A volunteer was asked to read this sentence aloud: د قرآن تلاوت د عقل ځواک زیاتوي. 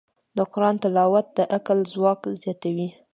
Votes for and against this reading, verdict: 2, 0, accepted